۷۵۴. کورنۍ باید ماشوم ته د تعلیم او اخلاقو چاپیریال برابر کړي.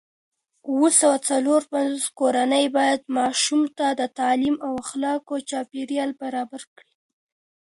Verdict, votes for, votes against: rejected, 0, 2